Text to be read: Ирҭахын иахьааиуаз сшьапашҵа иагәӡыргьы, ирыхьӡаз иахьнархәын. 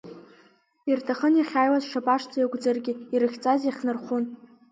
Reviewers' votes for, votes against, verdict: 8, 0, accepted